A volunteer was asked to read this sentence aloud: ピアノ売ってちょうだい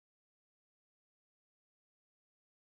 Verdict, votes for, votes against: rejected, 0, 2